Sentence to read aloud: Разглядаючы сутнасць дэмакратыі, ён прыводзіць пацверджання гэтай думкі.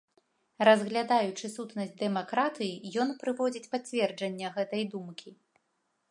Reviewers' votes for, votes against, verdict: 2, 0, accepted